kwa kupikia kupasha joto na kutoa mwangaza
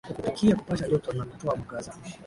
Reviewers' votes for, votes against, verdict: 4, 5, rejected